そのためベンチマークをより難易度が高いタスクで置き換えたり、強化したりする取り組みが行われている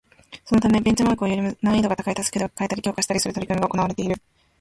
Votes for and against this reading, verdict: 1, 2, rejected